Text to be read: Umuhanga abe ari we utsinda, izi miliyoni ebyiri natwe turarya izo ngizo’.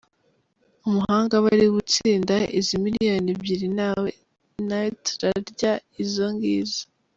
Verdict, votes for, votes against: rejected, 0, 2